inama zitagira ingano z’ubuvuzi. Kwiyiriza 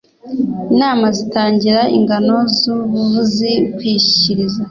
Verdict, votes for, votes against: rejected, 1, 2